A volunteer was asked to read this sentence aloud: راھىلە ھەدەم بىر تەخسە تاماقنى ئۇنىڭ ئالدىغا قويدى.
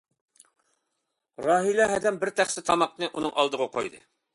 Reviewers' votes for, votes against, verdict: 2, 0, accepted